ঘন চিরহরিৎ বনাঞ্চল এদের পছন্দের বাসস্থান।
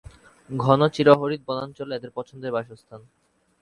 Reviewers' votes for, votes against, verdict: 2, 0, accepted